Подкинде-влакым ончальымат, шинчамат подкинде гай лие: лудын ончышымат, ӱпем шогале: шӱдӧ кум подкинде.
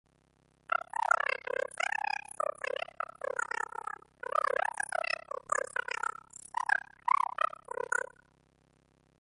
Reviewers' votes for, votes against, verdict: 0, 2, rejected